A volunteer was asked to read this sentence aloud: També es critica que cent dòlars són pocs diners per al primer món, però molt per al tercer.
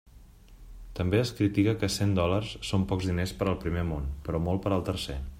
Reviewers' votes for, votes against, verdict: 2, 0, accepted